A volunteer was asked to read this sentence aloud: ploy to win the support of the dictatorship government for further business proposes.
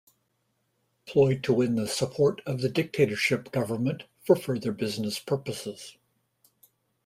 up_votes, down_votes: 0, 2